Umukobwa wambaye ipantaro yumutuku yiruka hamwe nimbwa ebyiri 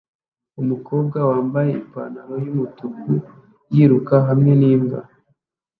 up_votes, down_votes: 0, 2